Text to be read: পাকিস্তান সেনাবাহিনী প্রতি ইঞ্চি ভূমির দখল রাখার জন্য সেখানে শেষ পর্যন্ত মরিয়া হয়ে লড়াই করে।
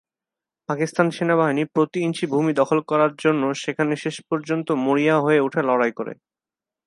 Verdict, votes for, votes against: rejected, 0, 2